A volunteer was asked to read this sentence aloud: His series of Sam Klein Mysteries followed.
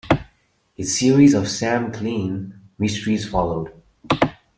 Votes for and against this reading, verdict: 0, 2, rejected